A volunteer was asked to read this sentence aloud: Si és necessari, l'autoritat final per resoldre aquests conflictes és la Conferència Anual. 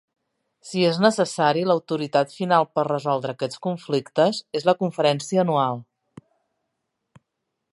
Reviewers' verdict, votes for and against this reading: accepted, 3, 0